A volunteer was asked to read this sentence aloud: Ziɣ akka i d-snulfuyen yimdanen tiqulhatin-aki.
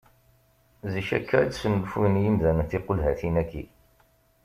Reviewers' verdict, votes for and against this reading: rejected, 1, 2